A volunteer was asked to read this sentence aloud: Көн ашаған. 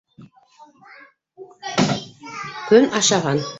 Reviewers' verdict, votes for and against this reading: rejected, 1, 2